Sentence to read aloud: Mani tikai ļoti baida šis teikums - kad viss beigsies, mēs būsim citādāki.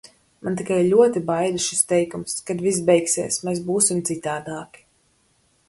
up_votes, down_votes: 2, 4